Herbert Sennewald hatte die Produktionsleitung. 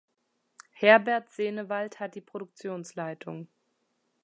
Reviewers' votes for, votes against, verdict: 1, 2, rejected